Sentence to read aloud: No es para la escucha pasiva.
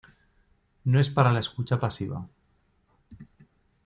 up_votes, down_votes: 2, 0